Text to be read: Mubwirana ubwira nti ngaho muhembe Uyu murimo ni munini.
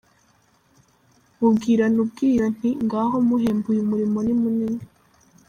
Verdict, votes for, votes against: accepted, 3, 0